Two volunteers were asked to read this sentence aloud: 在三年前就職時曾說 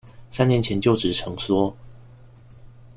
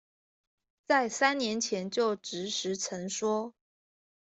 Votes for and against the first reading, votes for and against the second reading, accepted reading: 1, 2, 2, 0, second